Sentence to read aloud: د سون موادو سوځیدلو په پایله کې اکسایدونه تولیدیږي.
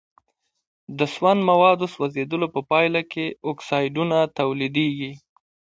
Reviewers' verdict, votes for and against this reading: accepted, 2, 0